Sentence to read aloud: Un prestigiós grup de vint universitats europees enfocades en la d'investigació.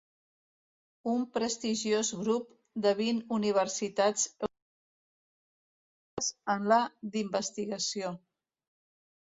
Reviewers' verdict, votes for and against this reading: rejected, 0, 2